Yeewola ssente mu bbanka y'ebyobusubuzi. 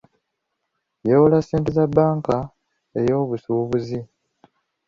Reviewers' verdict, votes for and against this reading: rejected, 0, 2